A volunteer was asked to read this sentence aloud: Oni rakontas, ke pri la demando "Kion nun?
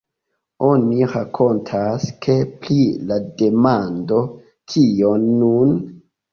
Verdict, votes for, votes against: accepted, 2, 1